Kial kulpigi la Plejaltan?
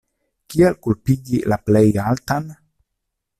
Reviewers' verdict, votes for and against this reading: accepted, 2, 0